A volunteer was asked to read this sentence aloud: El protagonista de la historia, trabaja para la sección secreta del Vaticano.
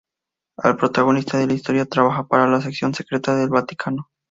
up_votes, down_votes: 2, 2